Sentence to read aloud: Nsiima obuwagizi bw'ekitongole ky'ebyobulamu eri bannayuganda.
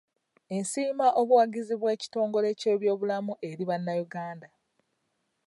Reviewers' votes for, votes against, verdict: 2, 0, accepted